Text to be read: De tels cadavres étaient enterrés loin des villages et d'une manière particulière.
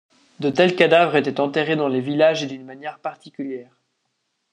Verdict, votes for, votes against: rejected, 1, 2